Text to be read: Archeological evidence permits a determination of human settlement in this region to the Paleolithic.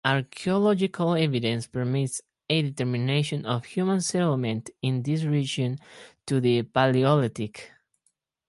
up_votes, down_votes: 0, 2